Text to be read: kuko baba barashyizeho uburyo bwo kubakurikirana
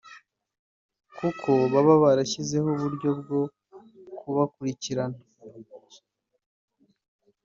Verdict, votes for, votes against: accepted, 3, 0